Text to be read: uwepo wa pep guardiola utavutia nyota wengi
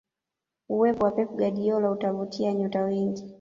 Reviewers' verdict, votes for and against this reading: accepted, 2, 0